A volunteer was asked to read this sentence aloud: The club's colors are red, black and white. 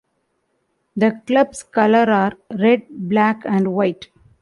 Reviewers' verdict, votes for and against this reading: rejected, 0, 2